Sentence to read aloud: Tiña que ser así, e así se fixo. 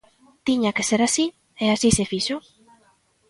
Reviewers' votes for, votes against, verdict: 2, 0, accepted